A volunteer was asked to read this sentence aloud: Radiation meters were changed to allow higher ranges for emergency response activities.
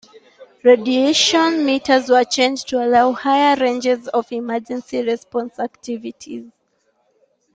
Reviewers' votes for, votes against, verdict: 2, 1, accepted